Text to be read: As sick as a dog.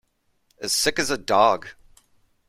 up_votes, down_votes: 2, 0